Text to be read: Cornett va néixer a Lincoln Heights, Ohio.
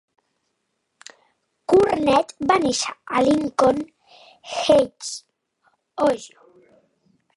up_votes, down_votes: 0, 2